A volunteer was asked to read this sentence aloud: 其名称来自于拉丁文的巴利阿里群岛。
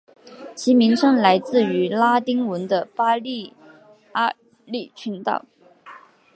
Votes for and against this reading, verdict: 2, 0, accepted